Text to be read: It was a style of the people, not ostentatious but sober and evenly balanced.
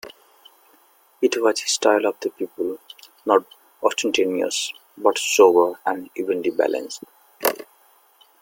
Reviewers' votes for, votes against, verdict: 2, 0, accepted